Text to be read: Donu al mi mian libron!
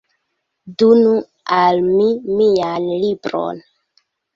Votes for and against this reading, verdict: 2, 1, accepted